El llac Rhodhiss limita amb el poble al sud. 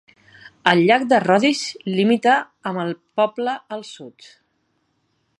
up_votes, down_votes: 0, 2